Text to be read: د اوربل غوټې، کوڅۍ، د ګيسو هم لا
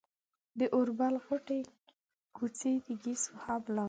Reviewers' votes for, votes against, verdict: 0, 2, rejected